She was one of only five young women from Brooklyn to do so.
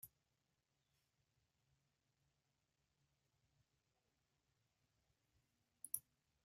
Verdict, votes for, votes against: rejected, 0, 2